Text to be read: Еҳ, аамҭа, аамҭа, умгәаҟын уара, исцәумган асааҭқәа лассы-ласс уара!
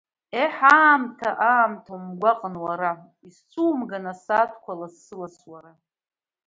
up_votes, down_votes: 2, 0